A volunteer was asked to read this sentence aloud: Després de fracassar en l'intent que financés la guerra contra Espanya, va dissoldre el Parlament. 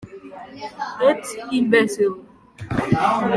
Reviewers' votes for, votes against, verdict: 0, 2, rejected